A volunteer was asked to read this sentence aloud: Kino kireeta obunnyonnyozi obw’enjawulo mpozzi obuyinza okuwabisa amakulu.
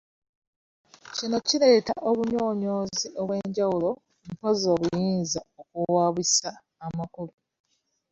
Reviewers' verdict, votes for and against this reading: rejected, 0, 2